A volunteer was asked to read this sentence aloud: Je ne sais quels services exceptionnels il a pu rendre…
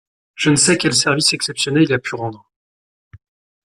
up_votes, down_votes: 2, 0